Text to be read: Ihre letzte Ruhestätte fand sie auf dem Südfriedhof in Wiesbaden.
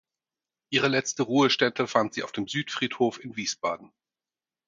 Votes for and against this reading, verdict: 4, 0, accepted